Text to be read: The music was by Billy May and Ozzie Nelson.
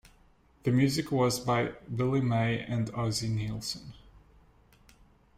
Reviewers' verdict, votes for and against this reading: rejected, 1, 2